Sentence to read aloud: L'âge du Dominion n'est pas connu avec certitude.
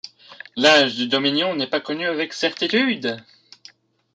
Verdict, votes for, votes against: rejected, 0, 2